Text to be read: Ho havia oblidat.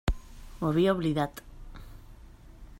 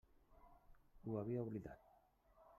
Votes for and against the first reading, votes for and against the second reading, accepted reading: 2, 1, 1, 2, first